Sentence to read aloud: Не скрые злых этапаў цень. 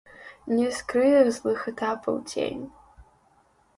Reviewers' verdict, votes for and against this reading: rejected, 1, 2